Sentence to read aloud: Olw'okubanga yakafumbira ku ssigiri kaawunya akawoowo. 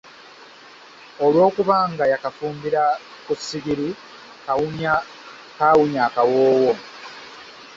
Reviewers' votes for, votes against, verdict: 1, 2, rejected